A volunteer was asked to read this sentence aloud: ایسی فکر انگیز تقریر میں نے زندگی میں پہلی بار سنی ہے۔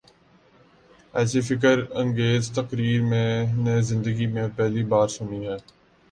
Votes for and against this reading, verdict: 4, 4, rejected